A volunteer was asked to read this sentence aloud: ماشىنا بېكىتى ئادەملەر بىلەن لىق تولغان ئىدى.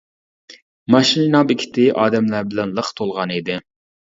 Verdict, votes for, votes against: rejected, 0, 2